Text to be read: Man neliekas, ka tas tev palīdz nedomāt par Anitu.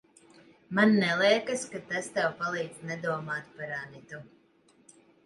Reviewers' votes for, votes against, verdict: 2, 0, accepted